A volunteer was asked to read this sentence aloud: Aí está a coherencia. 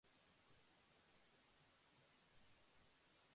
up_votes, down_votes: 0, 2